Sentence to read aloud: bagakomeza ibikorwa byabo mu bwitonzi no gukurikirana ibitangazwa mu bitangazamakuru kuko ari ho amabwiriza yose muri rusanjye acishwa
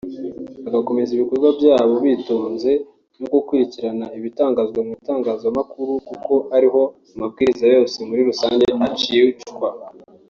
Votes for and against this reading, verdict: 0, 2, rejected